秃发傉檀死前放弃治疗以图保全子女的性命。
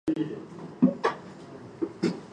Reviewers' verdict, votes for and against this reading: rejected, 0, 3